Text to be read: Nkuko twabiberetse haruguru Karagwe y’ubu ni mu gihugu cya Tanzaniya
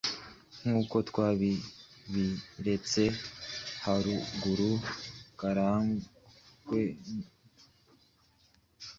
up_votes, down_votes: 1, 2